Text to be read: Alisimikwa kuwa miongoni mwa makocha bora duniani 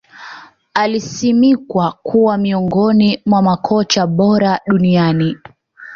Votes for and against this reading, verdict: 2, 0, accepted